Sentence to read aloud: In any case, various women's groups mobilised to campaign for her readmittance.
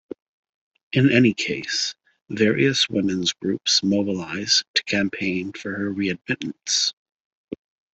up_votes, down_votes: 2, 0